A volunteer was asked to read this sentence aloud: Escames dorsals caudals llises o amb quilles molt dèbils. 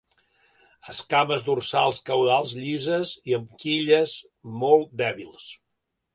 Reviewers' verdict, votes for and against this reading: accepted, 2, 0